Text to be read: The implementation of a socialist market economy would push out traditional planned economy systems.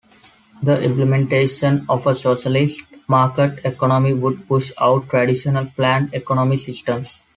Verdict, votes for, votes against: accepted, 2, 0